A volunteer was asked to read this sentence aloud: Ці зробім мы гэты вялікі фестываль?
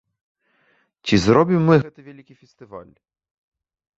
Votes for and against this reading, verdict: 2, 1, accepted